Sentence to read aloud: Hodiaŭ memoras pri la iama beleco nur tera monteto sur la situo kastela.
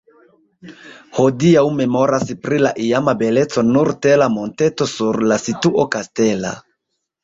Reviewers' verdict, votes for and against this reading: rejected, 1, 2